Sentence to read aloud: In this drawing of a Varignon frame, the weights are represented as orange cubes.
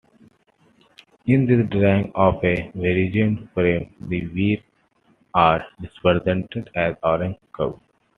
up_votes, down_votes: 1, 2